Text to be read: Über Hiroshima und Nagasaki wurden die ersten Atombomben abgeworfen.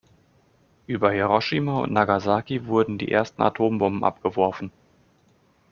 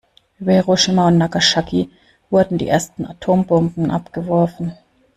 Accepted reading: first